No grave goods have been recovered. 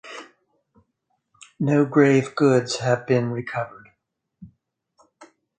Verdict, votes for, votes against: accepted, 4, 0